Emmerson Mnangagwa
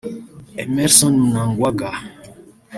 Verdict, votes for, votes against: rejected, 0, 2